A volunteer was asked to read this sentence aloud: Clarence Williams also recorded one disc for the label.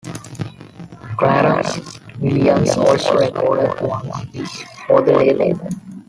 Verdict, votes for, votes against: rejected, 1, 2